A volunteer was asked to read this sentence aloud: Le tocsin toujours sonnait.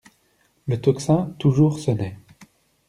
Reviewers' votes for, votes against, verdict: 2, 0, accepted